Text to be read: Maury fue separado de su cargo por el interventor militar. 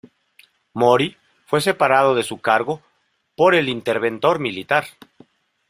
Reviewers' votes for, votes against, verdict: 0, 2, rejected